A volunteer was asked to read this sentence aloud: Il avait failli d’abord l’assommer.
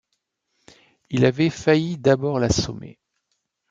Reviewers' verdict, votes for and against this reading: accepted, 2, 0